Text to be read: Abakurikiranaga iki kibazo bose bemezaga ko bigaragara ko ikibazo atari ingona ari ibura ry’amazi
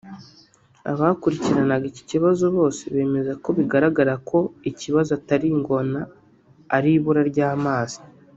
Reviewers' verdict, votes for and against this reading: rejected, 1, 2